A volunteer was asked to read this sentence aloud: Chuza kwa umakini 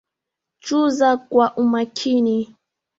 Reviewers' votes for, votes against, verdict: 2, 0, accepted